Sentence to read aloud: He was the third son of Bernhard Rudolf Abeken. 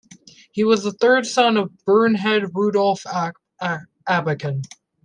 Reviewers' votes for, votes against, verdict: 0, 2, rejected